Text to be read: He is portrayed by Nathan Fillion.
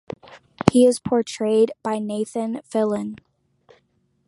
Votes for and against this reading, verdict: 0, 2, rejected